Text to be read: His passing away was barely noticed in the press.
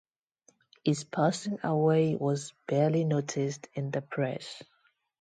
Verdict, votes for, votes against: rejected, 0, 2